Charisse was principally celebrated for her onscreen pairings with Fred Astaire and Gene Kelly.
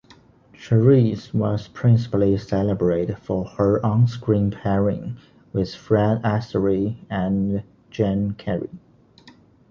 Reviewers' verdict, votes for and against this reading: rejected, 1, 2